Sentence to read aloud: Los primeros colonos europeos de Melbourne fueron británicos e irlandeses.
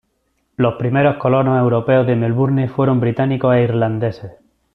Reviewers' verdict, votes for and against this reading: accepted, 2, 0